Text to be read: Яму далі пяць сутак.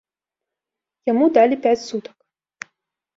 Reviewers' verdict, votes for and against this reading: rejected, 0, 2